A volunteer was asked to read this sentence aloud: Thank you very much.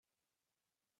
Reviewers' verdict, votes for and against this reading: rejected, 0, 4